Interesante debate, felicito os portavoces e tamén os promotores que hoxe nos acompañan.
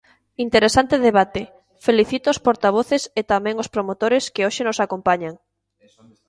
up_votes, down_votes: 1, 2